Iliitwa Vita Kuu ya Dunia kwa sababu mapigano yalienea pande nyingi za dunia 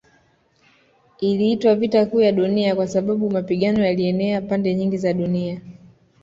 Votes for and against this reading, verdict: 2, 0, accepted